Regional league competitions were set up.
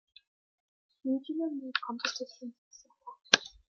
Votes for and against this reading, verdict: 0, 2, rejected